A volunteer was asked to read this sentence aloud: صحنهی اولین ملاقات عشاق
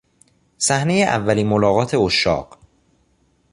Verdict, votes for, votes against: accepted, 2, 0